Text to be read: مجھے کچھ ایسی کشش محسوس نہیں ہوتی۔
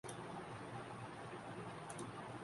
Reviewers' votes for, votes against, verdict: 1, 2, rejected